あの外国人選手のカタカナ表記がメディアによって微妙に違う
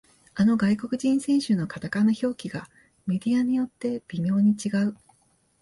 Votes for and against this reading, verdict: 2, 0, accepted